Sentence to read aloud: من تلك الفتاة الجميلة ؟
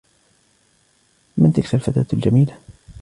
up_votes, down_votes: 2, 0